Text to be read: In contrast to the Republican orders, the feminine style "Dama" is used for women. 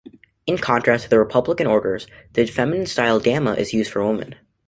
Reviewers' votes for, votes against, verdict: 1, 2, rejected